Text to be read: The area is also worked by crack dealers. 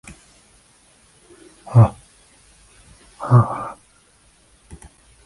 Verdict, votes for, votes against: rejected, 0, 2